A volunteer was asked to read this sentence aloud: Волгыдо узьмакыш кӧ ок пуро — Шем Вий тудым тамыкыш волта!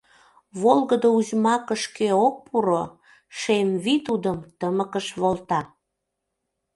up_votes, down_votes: 1, 2